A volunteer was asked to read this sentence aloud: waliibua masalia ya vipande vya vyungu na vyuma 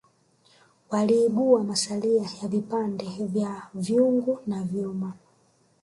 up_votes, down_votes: 2, 1